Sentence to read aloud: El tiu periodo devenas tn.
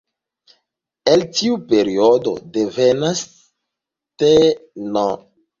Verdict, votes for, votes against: rejected, 0, 2